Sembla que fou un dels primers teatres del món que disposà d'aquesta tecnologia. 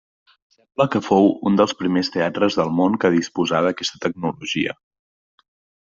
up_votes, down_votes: 0, 2